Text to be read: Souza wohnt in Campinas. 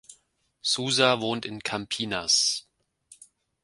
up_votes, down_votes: 2, 0